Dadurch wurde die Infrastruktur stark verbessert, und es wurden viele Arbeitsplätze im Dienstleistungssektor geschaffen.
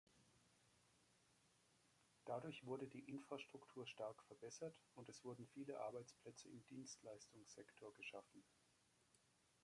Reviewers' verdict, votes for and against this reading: accepted, 2, 1